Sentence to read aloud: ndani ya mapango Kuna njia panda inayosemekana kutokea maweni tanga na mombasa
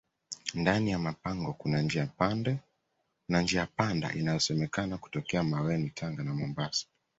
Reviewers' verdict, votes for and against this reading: accepted, 2, 1